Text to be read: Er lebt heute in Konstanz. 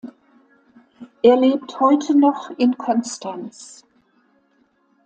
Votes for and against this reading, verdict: 0, 2, rejected